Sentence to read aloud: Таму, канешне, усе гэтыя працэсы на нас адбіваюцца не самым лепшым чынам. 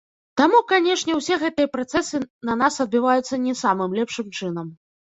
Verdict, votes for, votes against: rejected, 1, 2